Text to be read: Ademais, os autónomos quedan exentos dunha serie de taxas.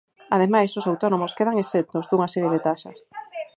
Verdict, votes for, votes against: rejected, 2, 4